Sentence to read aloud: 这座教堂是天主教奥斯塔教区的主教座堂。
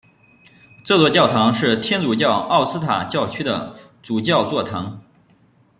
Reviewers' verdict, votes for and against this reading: accepted, 2, 0